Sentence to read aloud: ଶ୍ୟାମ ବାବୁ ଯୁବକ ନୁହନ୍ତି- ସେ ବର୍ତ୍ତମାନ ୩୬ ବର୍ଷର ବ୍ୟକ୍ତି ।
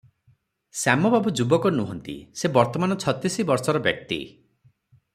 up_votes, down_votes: 0, 2